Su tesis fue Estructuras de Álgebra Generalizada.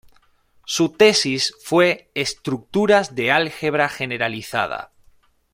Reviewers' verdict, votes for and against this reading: accepted, 2, 0